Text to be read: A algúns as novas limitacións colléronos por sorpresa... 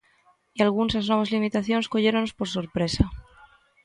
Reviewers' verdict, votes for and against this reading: rejected, 1, 2